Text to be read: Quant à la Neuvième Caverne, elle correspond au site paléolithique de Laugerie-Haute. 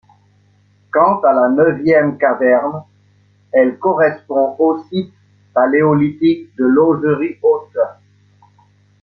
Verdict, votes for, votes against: accepted, 2, 0